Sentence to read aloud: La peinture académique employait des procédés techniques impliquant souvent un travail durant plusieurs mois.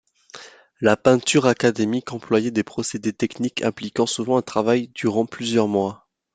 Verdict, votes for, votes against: accepted, 2, 0